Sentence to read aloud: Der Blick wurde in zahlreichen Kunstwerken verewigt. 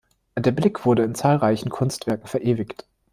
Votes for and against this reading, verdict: 2, 0, accepted